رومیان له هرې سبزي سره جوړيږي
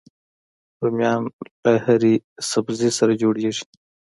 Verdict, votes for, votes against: accepted, 2, 1